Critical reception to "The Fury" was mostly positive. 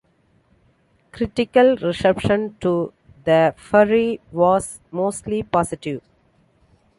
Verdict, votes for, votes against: accepted, 2, 0